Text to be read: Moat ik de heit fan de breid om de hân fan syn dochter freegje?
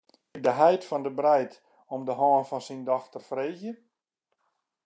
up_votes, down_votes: 2, 0